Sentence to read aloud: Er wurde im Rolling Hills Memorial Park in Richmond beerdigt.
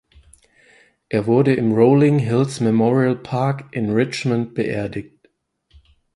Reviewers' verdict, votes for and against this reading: accepted, 4, 0